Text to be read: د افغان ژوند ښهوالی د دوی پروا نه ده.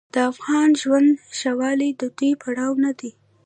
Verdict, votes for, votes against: accepted, 2, 0